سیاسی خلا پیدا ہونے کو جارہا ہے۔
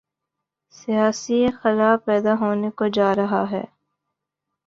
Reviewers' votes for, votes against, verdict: 6, 1, accepted